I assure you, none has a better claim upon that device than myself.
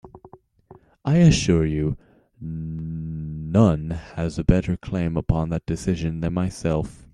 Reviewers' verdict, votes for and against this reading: rejected, 0, 2